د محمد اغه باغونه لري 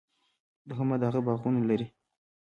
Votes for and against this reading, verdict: 2, 0, accepted